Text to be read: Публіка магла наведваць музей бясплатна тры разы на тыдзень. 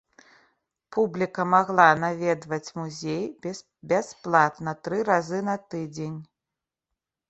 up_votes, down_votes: 1, 2